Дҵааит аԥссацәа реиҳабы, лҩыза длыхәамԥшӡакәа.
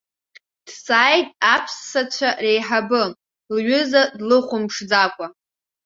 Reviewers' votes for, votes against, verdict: 2, 0, accepted